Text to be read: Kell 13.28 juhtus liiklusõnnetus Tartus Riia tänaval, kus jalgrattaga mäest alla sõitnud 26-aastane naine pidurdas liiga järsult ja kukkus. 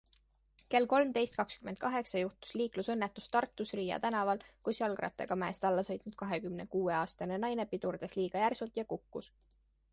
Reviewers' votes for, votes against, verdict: 0, 2, rejected